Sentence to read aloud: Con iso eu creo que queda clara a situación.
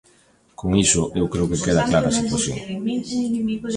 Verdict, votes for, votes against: rejected, 1, 2